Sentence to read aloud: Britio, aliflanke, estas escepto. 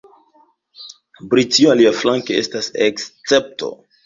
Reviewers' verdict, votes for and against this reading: rejected, 1, 2